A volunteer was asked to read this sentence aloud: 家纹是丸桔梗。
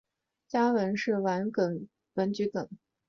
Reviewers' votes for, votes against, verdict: 3, 2, accepted